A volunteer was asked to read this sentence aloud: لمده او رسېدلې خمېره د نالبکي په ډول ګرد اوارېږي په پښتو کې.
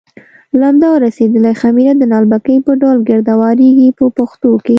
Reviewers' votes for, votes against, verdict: 2, 0, accepted